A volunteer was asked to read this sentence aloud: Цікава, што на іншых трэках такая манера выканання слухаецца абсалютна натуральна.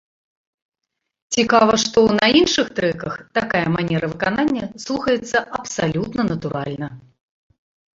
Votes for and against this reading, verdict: 2, 1, accepted